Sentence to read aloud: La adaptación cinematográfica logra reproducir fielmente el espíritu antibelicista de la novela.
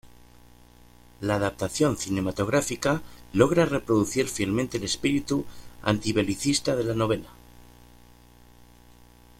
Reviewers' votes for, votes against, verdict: 2, 0, accepted